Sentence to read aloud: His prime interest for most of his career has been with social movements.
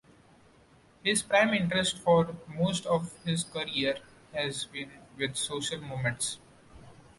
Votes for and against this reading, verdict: 0, 3, rejected